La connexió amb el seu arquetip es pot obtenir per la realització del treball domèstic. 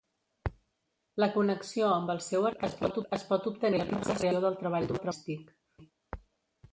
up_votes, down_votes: 1, 2